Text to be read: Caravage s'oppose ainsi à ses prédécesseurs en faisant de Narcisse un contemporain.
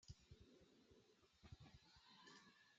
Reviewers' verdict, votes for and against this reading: rejected, 0, 2